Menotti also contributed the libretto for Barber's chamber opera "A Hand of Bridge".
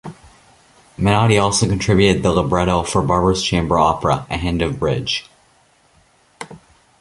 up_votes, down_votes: 1, 2